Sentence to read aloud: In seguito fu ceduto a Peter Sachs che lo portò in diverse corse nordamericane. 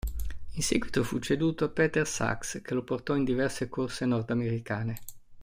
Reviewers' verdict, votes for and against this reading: accepted, 2, 0